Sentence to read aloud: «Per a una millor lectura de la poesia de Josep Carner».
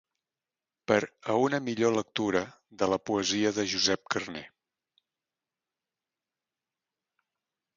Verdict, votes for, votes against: accepted, 2, 0